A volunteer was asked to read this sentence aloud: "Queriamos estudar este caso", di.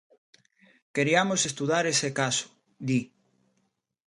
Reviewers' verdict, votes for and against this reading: rejected, 0, 2